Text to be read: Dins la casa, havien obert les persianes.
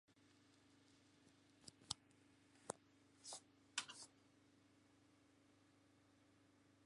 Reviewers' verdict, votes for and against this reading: rejected, 0, 3